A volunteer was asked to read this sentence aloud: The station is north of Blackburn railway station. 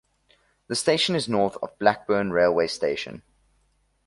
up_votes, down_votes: 2, 0